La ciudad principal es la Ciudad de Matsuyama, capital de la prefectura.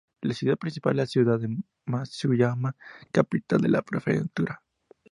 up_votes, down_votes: 2, 2